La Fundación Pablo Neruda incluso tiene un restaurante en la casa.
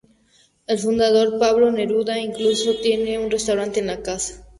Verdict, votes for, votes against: rejected, 0, 2